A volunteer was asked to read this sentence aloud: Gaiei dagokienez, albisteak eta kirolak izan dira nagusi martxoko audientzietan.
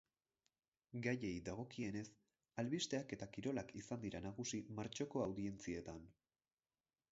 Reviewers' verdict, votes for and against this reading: rejected, 2, 4